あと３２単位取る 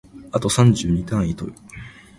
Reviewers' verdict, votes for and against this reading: rejected, 0, 2